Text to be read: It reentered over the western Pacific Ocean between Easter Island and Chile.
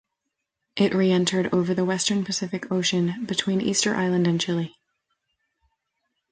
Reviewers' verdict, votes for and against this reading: accepted, 2, 0